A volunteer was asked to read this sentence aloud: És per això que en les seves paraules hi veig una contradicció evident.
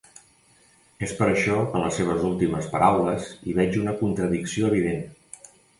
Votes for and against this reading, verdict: 0, 2, rejected